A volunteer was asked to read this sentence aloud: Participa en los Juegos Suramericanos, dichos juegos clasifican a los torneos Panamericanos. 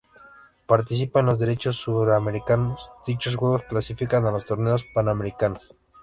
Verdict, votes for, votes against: rejected, 0, 2